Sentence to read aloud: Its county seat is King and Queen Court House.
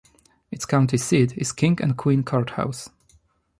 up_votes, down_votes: 2, 0